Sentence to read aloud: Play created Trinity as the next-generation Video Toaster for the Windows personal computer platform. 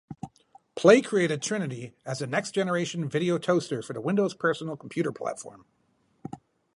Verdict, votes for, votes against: accepted, 4, 0